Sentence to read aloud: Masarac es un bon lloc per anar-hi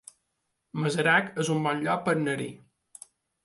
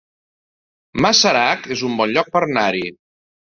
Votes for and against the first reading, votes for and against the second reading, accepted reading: 2, 1, 0, 2, first